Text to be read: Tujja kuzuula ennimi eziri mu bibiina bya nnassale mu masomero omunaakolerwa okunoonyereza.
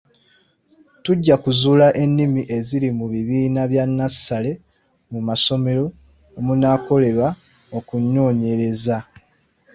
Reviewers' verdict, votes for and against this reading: accepted, 2, 0